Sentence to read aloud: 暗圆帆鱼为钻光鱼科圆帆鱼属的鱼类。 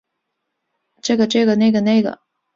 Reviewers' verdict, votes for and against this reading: rejected, 0, 3